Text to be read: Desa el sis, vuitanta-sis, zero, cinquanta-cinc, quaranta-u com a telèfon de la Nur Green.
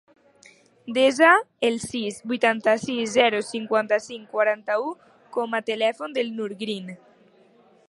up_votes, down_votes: 0, 2